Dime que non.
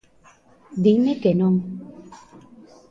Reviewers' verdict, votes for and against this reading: rejected, 1, 2